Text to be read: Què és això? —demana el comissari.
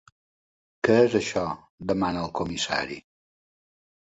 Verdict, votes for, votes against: accepted, 3, 0